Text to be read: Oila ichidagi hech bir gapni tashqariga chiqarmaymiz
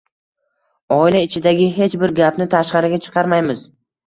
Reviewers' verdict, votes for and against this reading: accepted, 2, 0